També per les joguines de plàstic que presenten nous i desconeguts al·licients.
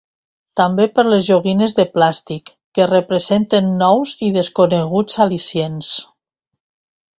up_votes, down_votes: 0, 2